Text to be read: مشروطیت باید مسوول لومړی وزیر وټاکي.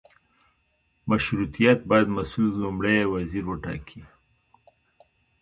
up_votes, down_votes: 2, 0